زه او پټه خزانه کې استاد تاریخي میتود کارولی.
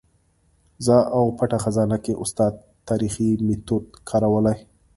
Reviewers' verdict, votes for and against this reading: accepted, 2, 0